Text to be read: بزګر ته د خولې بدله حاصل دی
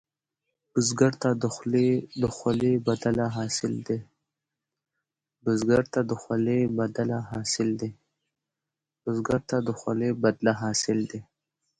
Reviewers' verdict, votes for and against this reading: rejected, 1, 2